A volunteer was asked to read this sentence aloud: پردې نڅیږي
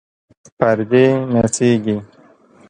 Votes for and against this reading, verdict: 3, 0, accepted